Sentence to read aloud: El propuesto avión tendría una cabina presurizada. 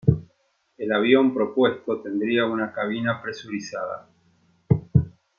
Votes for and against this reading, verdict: 1, 2, rejected